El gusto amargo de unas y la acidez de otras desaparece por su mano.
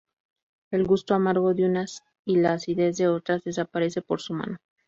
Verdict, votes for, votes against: accepted, 2, 0